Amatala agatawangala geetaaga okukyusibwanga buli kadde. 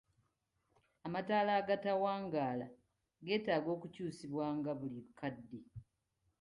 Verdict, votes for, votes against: accepted, 2, 0